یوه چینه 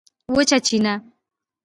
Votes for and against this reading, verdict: 1, 2, rejected